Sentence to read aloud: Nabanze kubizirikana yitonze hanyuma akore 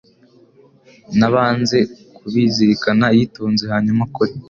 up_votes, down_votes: 3, 0